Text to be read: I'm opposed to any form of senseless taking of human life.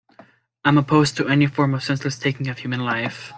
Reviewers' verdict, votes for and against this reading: accepted, 2, 0